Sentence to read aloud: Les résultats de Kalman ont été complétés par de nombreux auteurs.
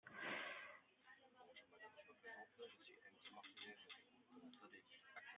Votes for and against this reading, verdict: 0, 2, rejected